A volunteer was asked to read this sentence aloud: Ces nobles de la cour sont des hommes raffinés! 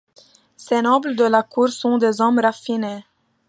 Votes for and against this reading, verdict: 2, 0, accepted